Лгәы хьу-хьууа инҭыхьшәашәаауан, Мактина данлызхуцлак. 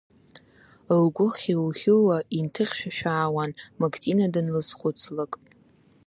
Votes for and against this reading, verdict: 2, 0, accepted